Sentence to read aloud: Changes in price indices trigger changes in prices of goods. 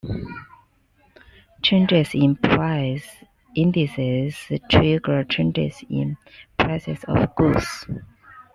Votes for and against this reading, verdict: 2, 0, accepted